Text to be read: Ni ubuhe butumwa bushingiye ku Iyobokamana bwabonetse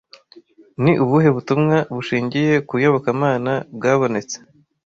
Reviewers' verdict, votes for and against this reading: accepted, 2, 0